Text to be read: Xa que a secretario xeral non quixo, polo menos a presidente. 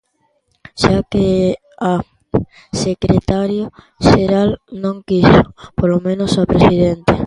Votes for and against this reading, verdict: 0, 2, rejected